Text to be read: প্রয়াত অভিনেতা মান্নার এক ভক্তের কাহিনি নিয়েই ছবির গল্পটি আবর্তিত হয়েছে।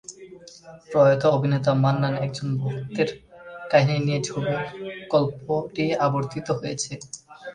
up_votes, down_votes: 0, 2